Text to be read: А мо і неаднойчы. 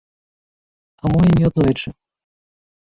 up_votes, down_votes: 2, 1